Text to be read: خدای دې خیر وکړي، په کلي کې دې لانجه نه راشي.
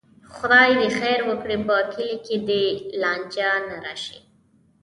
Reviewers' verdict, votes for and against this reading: accepted, 2, 0